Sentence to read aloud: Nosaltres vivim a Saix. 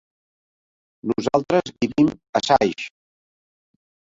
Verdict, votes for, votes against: accepted, 4, 0